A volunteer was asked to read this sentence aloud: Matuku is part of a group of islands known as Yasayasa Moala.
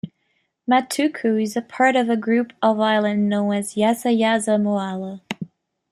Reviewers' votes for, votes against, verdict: 2, 0, accepted